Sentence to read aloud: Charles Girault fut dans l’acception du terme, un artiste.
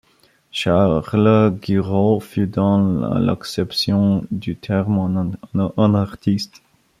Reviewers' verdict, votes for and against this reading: rejected, 0, 2